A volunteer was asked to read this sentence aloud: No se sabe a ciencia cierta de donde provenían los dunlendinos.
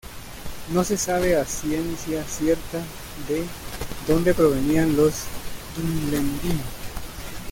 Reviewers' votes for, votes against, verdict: 0, 2, rejected